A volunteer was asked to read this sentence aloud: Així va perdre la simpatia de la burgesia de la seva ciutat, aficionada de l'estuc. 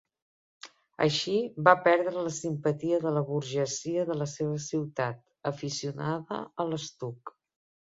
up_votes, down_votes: 1, 2